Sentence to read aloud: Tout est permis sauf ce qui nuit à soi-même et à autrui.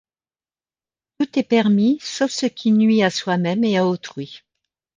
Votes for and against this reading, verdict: 1, 2, rejected